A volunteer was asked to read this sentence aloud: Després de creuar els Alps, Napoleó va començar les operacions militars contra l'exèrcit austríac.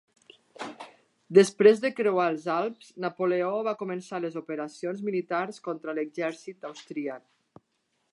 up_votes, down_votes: 2, 0